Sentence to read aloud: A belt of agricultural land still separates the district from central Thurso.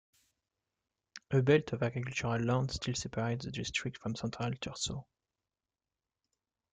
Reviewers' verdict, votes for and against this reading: rejected, 0, 2